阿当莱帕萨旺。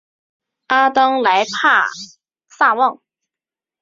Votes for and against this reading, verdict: 2, 0, accepted